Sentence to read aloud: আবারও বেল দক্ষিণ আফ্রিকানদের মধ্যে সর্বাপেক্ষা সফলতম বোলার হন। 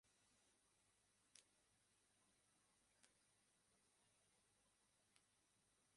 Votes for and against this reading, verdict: 0, 2, rejected